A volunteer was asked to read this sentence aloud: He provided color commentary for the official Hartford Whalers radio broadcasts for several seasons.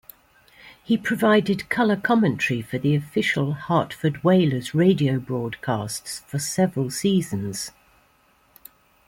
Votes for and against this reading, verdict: 3, 1, accepted